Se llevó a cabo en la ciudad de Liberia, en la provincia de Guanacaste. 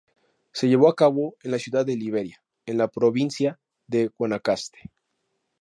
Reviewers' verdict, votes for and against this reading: accepted, 2, 0